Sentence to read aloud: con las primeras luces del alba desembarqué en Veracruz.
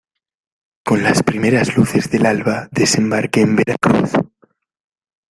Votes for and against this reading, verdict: 2, 0, accepted